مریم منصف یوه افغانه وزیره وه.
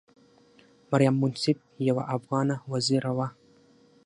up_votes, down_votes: 6, 0